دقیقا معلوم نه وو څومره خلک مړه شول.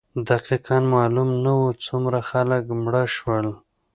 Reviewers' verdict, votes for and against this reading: accepted, 2, 0